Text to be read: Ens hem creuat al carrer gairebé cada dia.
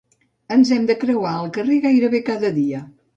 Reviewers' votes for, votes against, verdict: 0, 2, rejected